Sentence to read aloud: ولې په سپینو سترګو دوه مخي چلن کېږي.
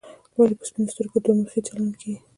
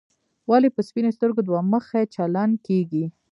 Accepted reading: first